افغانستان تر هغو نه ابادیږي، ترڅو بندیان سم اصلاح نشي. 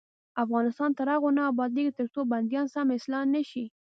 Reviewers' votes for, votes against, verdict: 2, 0, accepted